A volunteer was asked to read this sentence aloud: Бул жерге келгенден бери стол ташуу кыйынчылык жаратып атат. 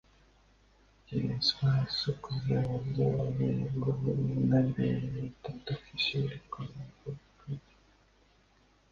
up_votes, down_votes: 0, 2